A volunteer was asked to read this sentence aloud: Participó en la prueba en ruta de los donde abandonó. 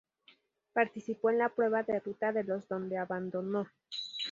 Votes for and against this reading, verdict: 0, 2, rejected